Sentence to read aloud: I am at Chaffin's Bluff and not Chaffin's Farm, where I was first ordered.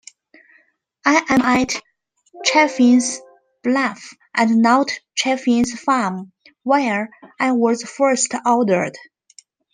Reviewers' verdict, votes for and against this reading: accepted, 2, 1